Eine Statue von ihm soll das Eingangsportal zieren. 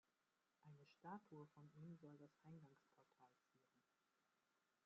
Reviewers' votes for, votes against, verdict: 0, 2, rejected